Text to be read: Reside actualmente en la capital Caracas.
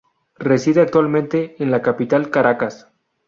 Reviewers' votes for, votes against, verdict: 2, 0, accepted